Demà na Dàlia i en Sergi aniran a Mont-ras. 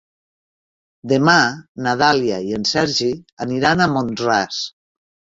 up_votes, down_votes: 2, 0